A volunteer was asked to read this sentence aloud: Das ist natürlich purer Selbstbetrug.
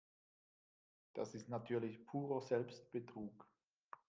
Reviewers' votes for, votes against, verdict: 2, 1, accepted